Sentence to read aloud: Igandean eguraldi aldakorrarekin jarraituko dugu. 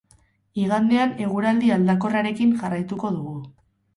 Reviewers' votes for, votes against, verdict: 2, 2, rejected